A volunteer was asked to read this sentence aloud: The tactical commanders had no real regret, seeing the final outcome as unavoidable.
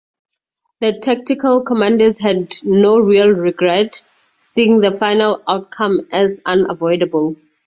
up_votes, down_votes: 2, 2